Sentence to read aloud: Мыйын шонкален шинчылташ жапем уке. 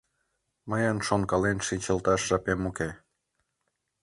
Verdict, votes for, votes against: accepted, 2, 0